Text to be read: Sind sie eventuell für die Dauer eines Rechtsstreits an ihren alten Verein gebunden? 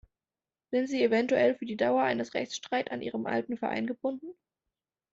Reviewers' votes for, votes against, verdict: 1, 2, rejected